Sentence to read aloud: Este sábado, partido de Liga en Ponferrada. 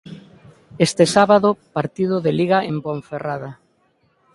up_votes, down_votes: 2, 0